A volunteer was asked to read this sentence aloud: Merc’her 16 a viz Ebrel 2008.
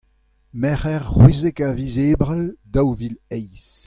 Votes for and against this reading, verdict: 0, 2, rejected